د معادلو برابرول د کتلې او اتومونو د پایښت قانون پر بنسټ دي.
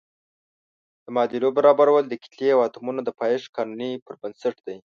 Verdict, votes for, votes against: rejected, 1, 2